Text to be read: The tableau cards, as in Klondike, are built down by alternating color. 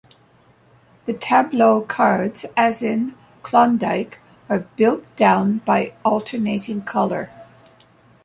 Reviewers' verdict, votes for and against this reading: accepted, 2, 0